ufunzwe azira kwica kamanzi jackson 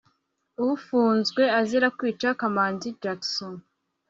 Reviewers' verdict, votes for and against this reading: accepted, 2, 0